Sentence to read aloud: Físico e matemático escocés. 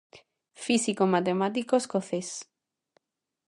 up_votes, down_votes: 2, 0